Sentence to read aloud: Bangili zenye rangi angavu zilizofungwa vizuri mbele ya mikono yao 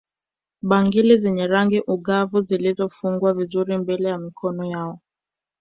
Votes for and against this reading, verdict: 1, 2, rejected